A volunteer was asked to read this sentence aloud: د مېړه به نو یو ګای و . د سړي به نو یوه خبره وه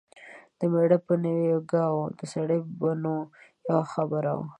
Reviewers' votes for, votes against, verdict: 1, 2, rejected